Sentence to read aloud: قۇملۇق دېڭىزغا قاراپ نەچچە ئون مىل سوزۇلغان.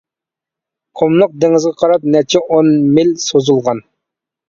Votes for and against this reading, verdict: 2, 0, accepted